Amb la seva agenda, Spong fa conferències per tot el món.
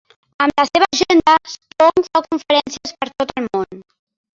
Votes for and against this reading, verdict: 0, 3, rejected